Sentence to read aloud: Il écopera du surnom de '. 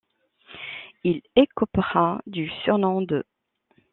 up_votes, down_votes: 0, 2